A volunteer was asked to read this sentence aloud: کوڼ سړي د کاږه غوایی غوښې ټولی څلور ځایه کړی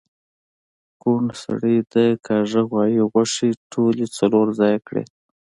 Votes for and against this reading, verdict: 2, 0, accepted